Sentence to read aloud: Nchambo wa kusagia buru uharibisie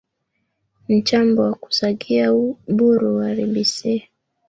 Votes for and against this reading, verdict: 1, 2, rejected